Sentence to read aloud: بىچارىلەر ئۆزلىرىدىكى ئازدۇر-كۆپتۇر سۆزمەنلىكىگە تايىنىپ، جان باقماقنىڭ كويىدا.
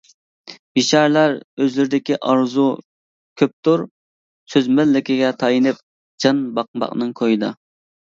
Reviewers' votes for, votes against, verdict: 0, 2, rejected